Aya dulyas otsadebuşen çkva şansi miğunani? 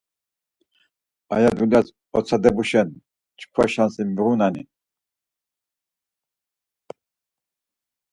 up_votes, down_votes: 4, 0